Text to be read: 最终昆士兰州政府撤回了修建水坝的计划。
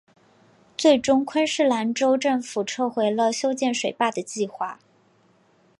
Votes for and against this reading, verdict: 3, 0, accepted